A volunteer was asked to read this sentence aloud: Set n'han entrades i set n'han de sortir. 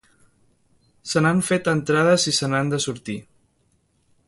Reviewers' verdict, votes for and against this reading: rejected, 0, 2